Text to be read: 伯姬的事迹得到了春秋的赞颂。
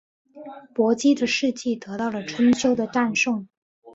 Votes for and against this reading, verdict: 3, 0, accepted